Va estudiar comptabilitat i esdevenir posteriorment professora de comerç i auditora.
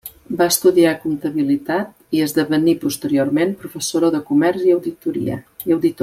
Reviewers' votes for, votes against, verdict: 0, 2, rejected